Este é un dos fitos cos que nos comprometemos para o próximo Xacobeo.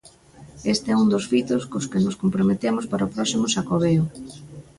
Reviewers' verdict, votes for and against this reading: rejected, 1, 2